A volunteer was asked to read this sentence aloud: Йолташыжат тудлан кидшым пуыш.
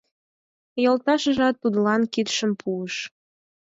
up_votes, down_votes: 4, 0